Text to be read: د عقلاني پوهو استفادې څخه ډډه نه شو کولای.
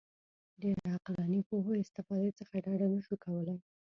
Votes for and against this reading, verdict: 1, 2, rejected